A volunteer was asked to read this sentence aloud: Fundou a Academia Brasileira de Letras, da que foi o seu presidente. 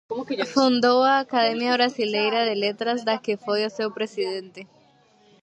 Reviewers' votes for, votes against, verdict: 0, 2, rejected